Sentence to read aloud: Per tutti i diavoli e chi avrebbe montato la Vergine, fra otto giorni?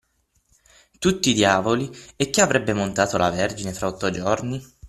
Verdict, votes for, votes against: rejected, 0, 6